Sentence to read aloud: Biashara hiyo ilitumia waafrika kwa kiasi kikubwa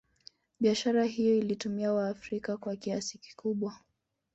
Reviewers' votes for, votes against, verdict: 1, 2, rejected